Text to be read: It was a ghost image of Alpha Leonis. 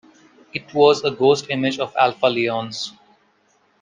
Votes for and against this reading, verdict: 2, 0, accepted